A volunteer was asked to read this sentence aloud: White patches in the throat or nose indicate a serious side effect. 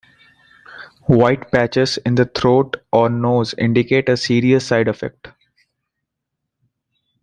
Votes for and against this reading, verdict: 2, 0, accepted